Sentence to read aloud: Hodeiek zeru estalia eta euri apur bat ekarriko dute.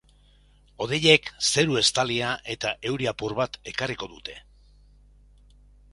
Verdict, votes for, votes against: accepted, 2, 0